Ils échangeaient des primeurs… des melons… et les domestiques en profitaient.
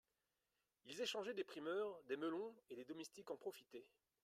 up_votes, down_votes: 0, 2